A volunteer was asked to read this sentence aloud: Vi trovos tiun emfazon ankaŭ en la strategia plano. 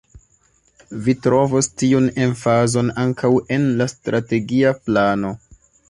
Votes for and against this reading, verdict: 1, 2, rejected